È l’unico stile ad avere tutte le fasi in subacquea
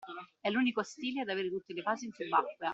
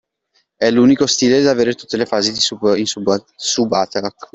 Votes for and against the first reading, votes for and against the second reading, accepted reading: 2, 0, 0, 2, first